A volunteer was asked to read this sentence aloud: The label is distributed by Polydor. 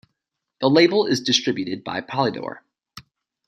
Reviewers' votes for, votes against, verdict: 2, 0, accepted